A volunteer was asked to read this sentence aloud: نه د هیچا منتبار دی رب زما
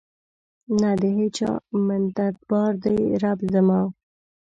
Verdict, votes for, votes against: accepted, 2, 0